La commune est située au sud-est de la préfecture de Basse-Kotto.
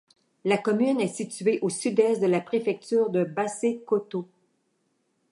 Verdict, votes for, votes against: accepted, 2, 0